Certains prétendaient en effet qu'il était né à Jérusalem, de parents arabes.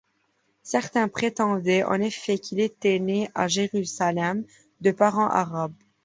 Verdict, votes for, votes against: accepted, 2, 0